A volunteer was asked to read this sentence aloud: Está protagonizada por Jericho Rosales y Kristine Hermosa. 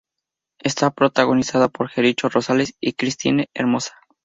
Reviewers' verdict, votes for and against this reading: accepted, 2, 0